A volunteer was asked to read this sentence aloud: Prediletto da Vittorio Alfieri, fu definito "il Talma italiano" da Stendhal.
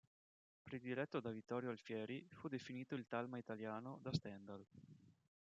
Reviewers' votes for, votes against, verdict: 1, 2, rejected